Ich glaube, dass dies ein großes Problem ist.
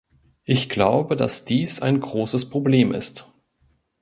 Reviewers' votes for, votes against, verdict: 2, 0, accepted